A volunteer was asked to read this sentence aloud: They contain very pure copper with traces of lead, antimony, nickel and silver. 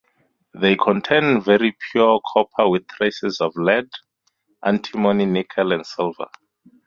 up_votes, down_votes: 2, 4